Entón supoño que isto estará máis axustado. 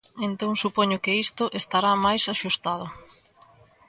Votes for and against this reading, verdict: 2, 0, accepted